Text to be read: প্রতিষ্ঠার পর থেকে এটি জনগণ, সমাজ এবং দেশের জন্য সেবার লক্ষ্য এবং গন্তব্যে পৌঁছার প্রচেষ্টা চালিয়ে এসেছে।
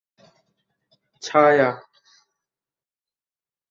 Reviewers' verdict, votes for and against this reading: rejected, 0, 2